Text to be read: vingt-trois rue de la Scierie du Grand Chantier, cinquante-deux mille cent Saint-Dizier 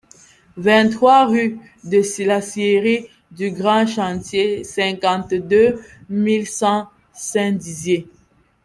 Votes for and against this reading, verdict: 0, 2, rejected